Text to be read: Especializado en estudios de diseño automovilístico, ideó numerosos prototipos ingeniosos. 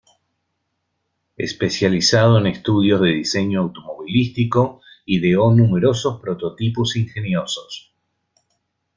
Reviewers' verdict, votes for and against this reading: accepted, 2, 0